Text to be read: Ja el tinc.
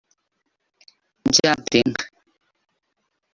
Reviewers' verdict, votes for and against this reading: rejected, 1, 2